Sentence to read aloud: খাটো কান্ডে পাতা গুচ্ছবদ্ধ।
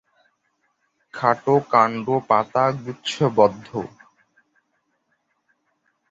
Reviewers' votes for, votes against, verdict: 2, 9, rejected